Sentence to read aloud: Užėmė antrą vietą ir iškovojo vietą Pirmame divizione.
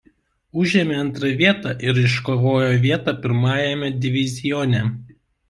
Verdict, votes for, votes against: rejected, 0, 2